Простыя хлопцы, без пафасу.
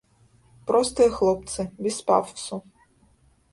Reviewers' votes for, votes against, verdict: 1, 2, rejected